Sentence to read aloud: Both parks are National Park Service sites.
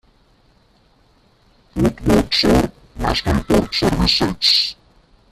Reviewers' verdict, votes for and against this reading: rejected, 0, 2